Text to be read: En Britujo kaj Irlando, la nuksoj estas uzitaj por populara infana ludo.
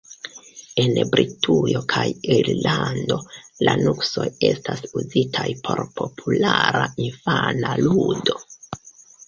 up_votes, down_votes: 0, 2